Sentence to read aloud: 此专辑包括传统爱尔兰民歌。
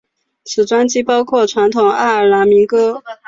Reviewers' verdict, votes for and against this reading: accepted, 4, 0